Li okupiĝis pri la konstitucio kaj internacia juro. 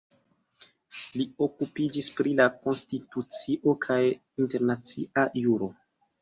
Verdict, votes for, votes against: accepted, 3, 0